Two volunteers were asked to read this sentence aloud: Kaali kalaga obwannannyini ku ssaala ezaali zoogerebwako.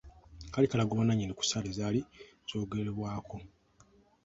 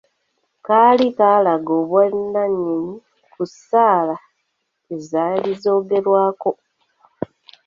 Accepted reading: first